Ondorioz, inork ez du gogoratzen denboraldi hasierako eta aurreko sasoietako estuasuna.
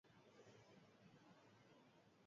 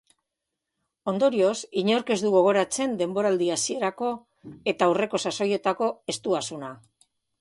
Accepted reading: second